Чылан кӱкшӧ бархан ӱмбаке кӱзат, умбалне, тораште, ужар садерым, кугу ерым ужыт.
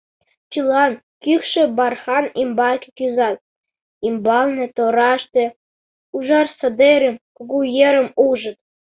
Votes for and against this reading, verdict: 0, 2, rejected